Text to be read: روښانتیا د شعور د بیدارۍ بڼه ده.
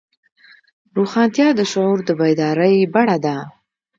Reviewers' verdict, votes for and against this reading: accepted, 2, 0